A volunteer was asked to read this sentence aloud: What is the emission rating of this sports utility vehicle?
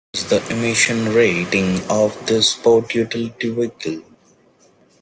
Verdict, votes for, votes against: rejected, 0, 2